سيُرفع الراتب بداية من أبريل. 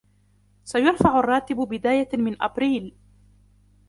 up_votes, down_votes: 2, 0